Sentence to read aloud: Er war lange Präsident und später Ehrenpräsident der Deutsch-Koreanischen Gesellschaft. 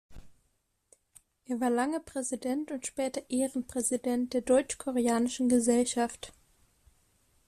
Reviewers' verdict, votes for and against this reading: accepted, 2, 0